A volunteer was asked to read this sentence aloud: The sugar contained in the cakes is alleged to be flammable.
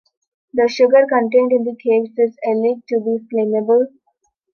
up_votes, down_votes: 2, 1